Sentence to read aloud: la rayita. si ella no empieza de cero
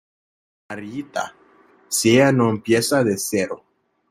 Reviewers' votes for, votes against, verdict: 0, 2, rejected